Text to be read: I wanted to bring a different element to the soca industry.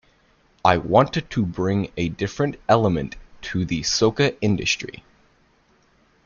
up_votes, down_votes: 3, 0